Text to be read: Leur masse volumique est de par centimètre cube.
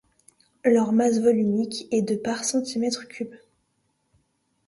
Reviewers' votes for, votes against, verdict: 2, 0, accepted